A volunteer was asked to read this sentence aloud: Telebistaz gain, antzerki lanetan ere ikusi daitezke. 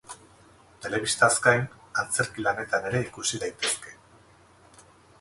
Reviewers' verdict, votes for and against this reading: rejected, 0, 2